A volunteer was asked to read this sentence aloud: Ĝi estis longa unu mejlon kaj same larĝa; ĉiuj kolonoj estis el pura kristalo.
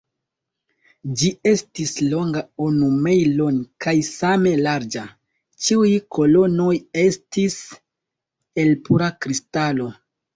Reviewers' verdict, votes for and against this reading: accepted, 2, 0